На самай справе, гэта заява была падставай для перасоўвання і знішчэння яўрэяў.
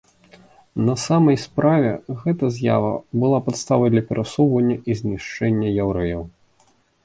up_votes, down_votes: 1, 2